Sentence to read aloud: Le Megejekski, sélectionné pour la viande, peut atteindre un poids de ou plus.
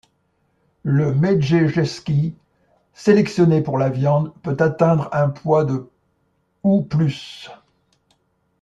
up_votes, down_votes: 2, 0